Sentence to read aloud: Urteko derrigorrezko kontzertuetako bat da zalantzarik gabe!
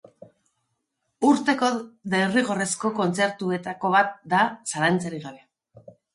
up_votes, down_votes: 4, 0